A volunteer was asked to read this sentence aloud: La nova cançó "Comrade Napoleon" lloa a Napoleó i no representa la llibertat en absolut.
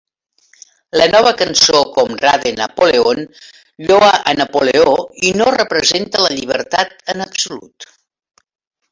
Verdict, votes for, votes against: rejected, 0, 2